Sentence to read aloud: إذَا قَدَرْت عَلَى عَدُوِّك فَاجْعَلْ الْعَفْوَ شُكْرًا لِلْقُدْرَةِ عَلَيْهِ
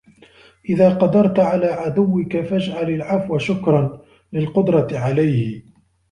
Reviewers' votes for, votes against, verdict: 1, 2, rejected